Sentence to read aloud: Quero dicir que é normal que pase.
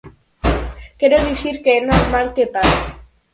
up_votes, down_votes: 2, 4